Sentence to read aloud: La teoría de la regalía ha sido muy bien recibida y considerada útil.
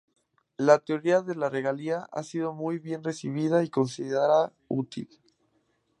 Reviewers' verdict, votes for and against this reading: rejected, 0, 2